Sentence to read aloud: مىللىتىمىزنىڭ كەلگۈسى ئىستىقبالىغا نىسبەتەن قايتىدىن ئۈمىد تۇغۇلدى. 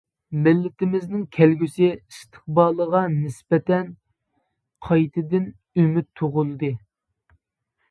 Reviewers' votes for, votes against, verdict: 2, 0, accepted